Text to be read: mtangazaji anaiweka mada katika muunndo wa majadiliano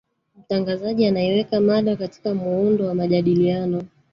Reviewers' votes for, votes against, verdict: 1, 2, rejected